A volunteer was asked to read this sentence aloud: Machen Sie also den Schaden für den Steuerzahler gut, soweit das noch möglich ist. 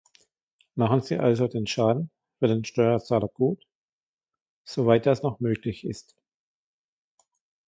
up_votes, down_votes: 2, 0